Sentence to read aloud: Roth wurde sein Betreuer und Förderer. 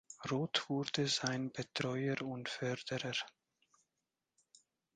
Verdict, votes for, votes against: accepted, 2, 0